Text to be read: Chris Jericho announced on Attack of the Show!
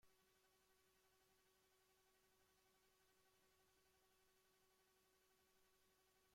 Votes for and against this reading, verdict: 0, 2, rejected